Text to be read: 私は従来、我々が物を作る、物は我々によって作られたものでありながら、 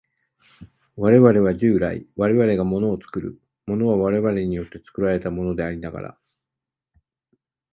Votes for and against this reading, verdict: 2, 4, rejected